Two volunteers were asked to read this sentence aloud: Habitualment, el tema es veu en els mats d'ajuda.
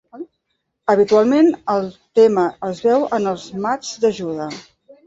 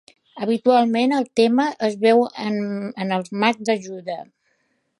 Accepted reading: first